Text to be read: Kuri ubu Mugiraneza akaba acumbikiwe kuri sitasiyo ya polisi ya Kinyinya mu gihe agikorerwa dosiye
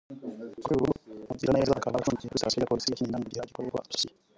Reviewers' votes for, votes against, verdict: 0, 2, rejected